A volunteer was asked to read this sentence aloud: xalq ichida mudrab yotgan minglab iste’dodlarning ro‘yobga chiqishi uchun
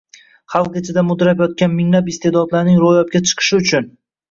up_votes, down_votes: 0, 2